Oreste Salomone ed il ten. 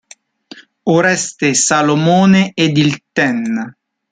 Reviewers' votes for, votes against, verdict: 1, 2, rejected